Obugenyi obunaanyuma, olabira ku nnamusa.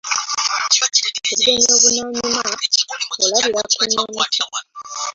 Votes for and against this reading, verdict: 1, 2, rejected